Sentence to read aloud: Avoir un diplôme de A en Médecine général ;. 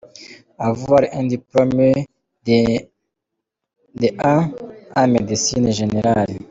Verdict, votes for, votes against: rejected, 0, 3